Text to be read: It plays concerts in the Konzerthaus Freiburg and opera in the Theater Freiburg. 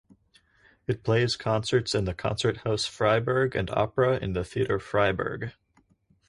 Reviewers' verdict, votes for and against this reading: accepted, 4, 0